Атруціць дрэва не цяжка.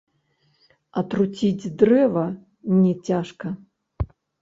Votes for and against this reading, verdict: 1, 2, rejected